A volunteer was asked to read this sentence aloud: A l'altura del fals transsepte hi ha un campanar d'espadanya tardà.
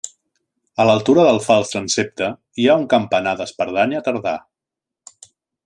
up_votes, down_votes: 0, 2